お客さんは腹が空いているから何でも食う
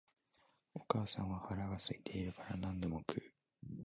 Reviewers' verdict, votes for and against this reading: rejected, 0, 2